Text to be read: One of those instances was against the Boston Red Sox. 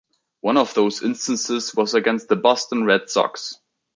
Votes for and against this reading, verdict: 2, 1, accepted